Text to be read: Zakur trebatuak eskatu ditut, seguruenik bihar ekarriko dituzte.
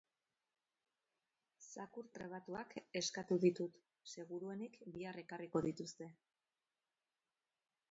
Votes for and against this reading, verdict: 2, 4, rejected